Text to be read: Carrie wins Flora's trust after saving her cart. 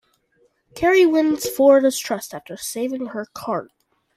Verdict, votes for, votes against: accepted, 2, 0